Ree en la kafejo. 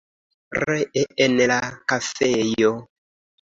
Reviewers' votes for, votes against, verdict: 2, 0, accepted